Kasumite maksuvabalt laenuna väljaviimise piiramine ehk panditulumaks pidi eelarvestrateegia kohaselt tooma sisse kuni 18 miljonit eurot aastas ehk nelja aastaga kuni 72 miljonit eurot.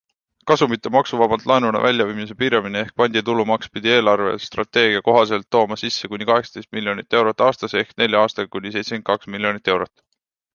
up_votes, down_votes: 0, 2